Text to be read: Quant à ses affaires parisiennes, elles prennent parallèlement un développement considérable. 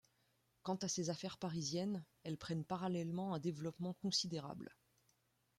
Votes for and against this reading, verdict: 2, 1, accepted